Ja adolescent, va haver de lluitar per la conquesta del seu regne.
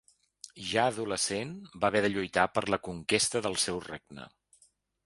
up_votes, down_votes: 2, 0